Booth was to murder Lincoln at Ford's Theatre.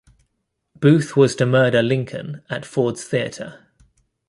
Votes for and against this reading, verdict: 2, 0, accepted